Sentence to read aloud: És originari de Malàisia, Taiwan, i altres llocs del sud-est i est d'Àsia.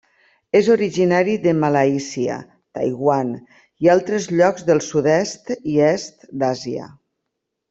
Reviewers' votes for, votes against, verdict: 3, 0, accepted